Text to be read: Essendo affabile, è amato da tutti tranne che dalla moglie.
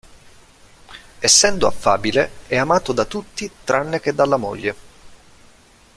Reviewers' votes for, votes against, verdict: 2, 0, accepted